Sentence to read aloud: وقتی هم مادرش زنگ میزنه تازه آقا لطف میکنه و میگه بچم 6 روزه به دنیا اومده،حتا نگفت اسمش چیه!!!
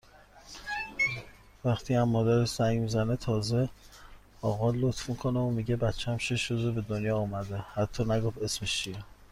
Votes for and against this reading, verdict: 0, 2, rejected